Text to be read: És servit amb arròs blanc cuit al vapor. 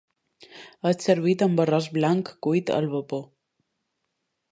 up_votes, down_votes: 2, 0